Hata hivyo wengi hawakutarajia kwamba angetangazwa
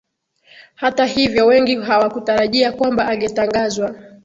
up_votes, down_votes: 2, 0